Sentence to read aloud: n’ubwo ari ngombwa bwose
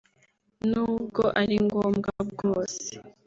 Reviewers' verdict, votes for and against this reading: accepted, 2, 0